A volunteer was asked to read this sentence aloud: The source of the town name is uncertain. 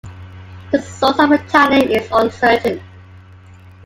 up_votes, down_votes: 1, 2